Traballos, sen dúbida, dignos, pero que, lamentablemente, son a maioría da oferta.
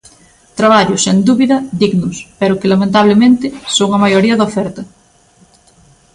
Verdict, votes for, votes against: accepted, 2, 0